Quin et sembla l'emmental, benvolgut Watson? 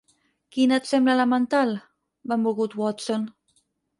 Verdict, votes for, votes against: rejected, 4, 6